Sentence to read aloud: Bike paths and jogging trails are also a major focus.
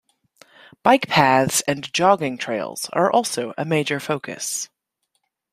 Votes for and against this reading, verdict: 0, 2, rejected